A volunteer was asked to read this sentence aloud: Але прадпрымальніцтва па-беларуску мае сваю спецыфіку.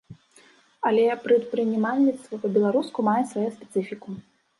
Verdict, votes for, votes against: rejected, 1, 2